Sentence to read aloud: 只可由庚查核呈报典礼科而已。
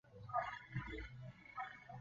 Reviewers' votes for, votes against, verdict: 0, 3, rejected